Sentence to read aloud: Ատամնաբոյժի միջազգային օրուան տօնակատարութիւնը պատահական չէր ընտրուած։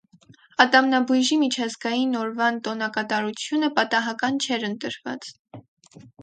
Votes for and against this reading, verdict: 4, 4, rejected